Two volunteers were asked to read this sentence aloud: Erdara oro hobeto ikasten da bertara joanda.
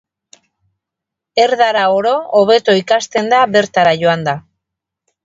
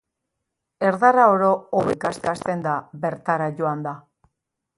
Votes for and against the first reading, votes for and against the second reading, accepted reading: 4, 0, 0, 2, first